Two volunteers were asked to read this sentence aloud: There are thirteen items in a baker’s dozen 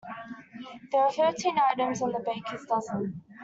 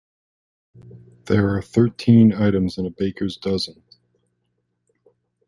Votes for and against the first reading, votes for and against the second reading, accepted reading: 0, 2, 2, 0, second